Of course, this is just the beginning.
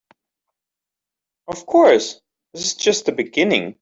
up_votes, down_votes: 2, 0